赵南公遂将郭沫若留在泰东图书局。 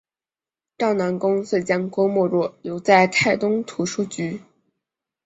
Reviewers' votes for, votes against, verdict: 5, 0, accepted